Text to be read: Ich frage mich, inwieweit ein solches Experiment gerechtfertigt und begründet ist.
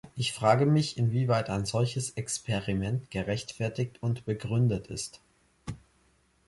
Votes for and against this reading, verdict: 3, 0, accepted